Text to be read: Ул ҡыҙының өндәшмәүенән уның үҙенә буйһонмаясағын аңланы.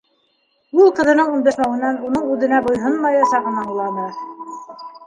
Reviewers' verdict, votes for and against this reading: rejected, 0, 2